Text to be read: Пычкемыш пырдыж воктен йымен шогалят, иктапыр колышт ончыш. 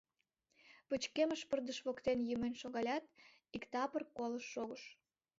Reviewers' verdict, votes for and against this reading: rejected, 1, 2